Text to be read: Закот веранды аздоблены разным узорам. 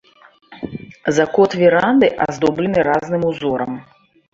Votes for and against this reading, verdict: 0, 2, rejected